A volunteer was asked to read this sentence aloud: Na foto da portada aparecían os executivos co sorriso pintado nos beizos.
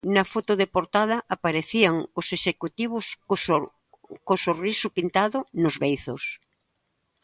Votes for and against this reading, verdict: 0, 2, rejected